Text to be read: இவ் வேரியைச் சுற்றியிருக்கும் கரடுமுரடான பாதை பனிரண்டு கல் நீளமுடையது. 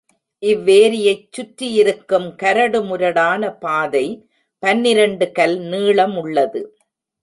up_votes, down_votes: 1, 2